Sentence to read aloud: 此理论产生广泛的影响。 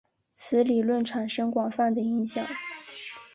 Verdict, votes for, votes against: accepted, 4, 0